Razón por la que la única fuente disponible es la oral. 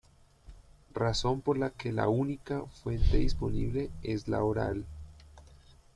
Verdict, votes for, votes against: accepted, 2, 0